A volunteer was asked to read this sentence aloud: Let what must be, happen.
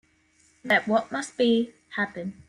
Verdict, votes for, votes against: accepted, 2, 0